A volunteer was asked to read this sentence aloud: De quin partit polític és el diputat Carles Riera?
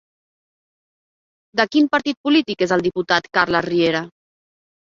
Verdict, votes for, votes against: accepted, 4, 0